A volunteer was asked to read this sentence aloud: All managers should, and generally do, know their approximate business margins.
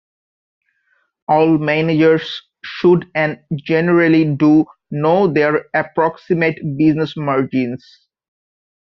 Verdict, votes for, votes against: accepted, 2, 0